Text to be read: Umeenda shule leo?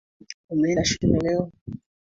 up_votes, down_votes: 2, 1